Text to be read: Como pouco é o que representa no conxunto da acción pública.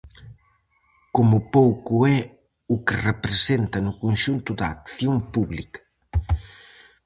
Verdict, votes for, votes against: accepted, 4, 0